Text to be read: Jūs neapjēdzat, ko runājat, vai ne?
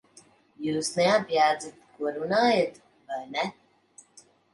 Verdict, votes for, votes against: rejected, 1, 2